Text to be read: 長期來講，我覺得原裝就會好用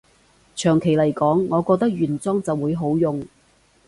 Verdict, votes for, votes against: accepted, 2, 0